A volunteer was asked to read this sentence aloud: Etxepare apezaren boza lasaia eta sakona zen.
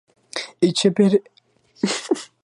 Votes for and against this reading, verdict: 0, 2, rejected